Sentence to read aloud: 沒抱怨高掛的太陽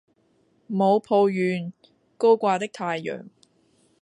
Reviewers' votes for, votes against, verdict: 0, 2, rejected